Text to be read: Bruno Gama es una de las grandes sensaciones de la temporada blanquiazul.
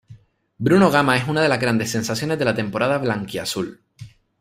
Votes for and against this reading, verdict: 1, 2, rejected